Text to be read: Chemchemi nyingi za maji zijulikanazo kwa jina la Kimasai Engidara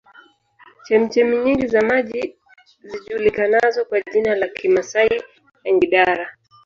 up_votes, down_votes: 2, 3